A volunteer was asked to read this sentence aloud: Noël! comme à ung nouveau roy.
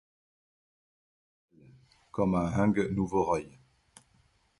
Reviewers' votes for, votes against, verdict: 0, 2, rejected